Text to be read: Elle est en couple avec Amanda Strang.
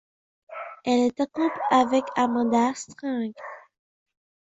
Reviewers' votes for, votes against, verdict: 1, 2, rejected